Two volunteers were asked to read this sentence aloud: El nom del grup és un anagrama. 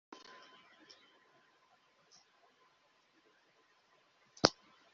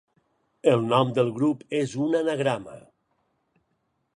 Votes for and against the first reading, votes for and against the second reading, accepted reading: 0, 2, 4, 0, second